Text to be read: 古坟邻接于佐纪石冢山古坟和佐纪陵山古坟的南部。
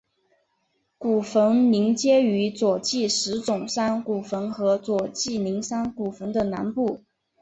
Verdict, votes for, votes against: accepted, 2, 0